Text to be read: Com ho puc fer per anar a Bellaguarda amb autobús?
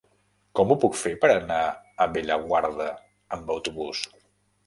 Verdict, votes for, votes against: accepted, 3, 0